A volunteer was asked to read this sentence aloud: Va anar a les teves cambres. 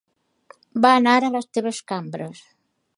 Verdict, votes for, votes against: accepted, 2, 0